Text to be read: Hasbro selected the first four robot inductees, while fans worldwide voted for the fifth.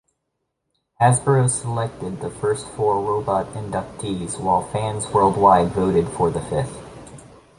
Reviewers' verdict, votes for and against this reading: accepted, 2, 0